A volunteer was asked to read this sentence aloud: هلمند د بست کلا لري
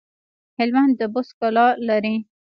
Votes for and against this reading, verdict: 2, 1, accepted